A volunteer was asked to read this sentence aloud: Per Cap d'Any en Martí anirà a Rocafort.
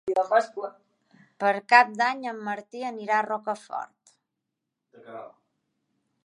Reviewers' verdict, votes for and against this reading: rejected, 1, 2